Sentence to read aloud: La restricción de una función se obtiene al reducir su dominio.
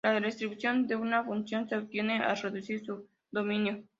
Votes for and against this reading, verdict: 2, 0, accepted